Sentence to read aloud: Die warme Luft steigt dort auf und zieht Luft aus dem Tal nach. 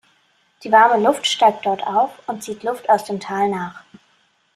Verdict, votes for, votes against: accepted, 2, 0